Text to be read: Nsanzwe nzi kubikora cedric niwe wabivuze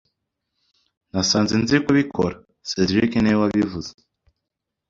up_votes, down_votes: 0, 2